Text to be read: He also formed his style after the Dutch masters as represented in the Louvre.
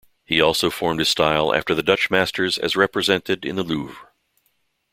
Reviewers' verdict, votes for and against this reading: accepted, 2, 0